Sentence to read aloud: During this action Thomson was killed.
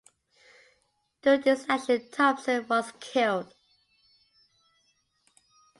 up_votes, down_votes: 2, 0